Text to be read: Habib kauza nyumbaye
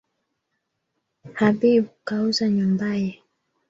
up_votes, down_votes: 3, 0